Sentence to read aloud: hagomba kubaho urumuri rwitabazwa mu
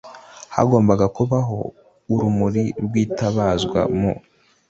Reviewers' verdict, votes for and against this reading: rejected, 1, 2